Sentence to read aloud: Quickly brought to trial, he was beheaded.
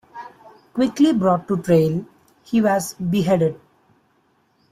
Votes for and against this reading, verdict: 0, 2, rejected